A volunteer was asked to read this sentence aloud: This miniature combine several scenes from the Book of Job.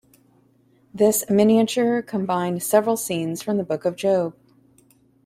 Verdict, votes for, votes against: accepted, 2, 0